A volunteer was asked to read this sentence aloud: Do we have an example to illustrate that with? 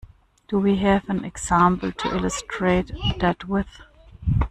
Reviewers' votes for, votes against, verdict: 2, 1, accepted